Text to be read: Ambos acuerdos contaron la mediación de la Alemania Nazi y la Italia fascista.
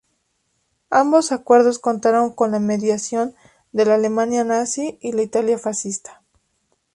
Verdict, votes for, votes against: rejected, 0, 2